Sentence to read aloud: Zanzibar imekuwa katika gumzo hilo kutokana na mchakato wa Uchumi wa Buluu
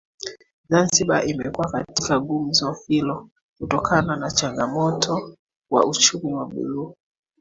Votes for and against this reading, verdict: 0, 2, rejected